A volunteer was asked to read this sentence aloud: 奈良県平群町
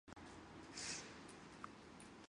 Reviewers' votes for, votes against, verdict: 0, 2, rejected